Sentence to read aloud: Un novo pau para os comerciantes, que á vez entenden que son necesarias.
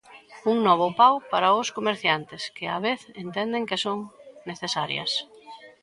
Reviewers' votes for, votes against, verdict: 2, 1, accepted